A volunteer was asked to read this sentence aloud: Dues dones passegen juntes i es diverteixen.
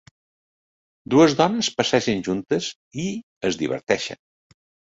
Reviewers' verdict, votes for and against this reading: accepted, 2, 0